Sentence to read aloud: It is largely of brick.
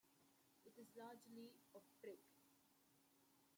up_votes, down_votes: 0, 2